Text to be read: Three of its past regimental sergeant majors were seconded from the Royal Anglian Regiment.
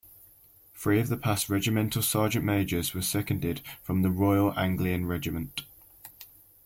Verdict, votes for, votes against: rejected, 0, 2